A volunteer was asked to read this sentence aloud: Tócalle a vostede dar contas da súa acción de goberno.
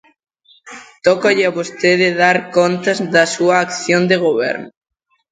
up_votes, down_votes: 2, 0